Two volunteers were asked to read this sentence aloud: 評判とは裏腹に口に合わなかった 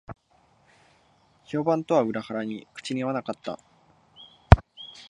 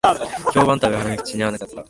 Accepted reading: first